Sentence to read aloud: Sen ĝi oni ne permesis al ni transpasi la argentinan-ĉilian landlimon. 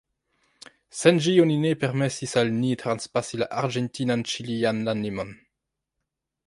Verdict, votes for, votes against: rejected, 0, 2